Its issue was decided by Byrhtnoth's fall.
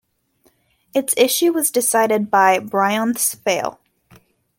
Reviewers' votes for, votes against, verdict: 0, 2, rejected